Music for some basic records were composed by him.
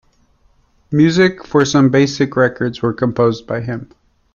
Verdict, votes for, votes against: accepted, 2, 0